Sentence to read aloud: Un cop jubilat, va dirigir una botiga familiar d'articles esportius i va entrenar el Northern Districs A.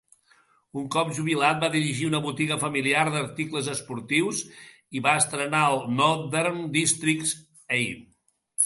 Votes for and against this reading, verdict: 1, 2, rejected